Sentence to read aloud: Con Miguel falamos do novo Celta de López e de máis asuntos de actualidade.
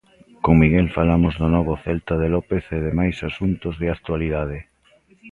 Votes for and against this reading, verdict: 2, 0, accepted